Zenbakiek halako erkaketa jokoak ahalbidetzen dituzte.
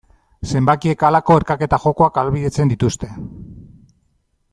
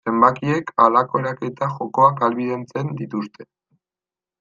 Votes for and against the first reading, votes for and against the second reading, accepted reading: 2, 0, 1, 2, first